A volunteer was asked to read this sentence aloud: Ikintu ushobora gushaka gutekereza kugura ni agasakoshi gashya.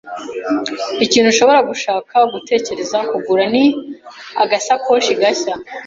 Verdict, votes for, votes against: accepted, 2, 0